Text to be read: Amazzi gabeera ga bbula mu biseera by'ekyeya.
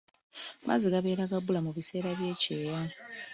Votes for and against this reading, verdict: 1, 2, rejected